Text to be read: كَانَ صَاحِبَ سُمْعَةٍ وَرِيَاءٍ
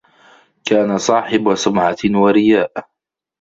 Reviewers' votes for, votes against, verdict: 2, 0, accepted